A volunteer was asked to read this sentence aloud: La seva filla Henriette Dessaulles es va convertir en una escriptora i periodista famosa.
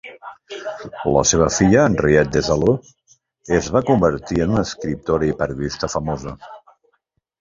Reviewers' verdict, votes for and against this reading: rejected, 1, 2